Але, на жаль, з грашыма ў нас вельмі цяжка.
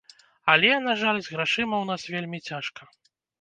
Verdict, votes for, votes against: accepted, 2, 0